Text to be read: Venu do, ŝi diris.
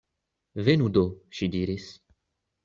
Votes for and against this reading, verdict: 2, 0, accepted